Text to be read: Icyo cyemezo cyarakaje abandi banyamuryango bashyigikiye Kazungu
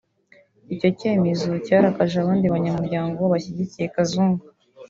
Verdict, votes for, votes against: rejected, 0, 2